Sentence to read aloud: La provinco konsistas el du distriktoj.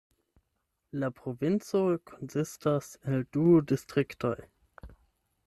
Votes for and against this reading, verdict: 8, 0, accepted